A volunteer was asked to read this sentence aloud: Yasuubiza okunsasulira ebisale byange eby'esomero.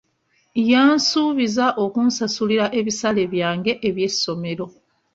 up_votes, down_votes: 0, 2